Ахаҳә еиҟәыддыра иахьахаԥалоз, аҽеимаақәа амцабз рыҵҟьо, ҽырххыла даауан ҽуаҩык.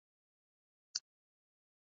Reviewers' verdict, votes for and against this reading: rejected, 0, 2